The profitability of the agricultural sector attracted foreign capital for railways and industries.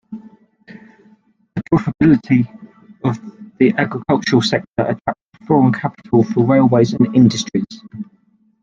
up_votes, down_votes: 0, 2